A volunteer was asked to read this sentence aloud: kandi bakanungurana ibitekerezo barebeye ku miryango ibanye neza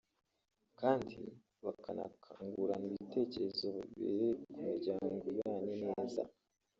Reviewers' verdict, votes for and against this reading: rejected, 1, 3